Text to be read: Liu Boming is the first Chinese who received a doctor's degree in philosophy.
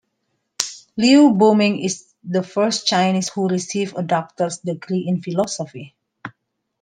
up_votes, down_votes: 2, 1